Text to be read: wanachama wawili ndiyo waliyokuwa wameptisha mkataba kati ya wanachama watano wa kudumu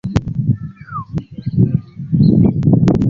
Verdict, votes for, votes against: rejected, 0, 2